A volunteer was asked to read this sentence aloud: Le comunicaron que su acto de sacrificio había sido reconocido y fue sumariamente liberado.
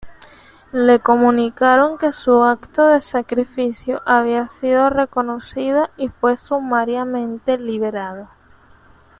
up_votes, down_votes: 1, 2